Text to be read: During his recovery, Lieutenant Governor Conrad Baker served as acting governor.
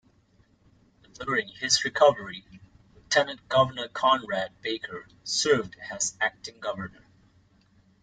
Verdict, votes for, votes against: rejected, 2, 3